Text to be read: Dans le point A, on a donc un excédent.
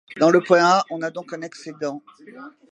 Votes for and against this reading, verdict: 2, 1, accepted